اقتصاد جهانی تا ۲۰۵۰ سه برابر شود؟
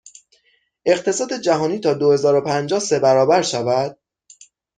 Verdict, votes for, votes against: rejected, 0, 2